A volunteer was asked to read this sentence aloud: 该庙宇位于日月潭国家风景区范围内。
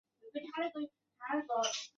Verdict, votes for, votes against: rejected, 0, 6